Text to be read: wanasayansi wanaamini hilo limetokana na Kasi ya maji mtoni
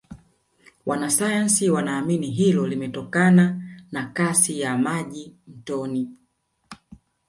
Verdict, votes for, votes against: accepted, 2, 0